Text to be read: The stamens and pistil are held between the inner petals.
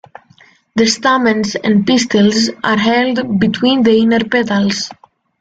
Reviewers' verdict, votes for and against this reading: rejected, 1, 2